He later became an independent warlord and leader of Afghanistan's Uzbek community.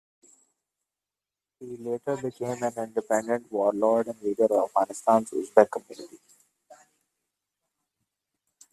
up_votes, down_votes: 1, 2